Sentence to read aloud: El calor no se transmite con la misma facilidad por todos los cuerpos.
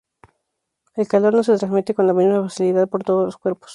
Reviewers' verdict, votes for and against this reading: rejected, 0, 2